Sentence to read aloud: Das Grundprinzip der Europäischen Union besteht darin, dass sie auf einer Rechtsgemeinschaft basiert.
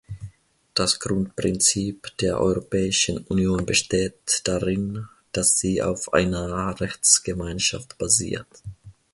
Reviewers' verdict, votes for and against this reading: rejected, 0, 2